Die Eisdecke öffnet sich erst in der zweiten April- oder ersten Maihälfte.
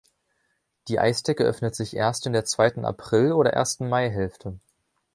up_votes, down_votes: 2, 0